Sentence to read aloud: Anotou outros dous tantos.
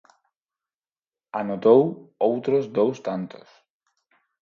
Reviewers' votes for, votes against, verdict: 4, 0, accepted